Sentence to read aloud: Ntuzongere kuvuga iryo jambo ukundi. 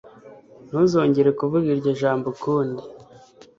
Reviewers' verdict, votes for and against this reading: accepted, 2, 0